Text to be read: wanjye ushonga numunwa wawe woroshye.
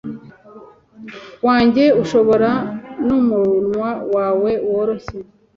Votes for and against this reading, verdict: 0, 2, rejected